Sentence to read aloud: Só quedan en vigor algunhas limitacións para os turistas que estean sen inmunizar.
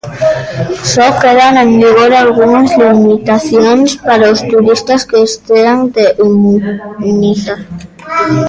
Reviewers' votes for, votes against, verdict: 0, 2, rejected